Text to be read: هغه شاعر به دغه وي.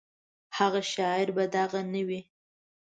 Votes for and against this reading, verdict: 1, 2, rejected